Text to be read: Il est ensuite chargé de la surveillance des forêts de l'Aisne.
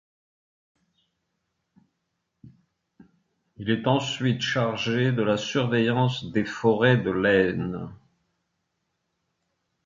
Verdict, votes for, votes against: accepted, 2, 0